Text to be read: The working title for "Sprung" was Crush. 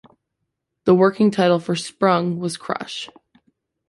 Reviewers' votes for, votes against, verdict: 2, 0, accepted